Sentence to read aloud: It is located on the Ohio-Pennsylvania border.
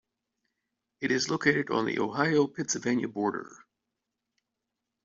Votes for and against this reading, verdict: 2, 0, accepted